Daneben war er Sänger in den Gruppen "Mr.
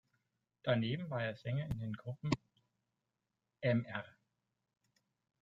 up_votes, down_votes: 0, 2